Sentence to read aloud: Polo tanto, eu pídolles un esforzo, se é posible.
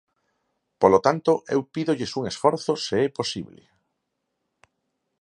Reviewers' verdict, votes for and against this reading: accepted, 4, 0